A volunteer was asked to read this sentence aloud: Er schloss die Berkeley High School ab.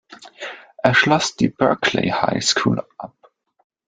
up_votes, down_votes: 2, 0